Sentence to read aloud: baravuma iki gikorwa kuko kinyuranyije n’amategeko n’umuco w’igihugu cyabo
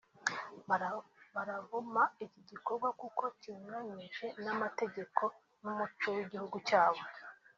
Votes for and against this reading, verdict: 0, 2, rejected